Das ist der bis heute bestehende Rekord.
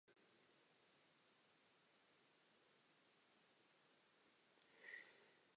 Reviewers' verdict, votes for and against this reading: rejected, 0, 2